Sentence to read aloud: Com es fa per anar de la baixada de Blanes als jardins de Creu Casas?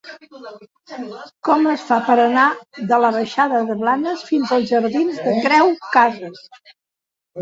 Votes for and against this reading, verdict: 0, 2, rejected